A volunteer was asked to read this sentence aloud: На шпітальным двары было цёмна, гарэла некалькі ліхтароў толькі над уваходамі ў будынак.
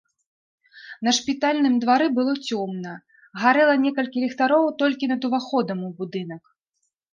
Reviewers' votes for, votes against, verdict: 1, 2, rejected